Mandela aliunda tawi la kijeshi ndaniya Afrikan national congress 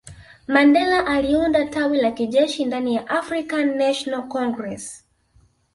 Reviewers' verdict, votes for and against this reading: rejected, 1, 2